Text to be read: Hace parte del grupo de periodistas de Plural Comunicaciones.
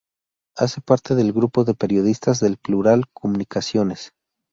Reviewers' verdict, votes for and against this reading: rejected, 2, 2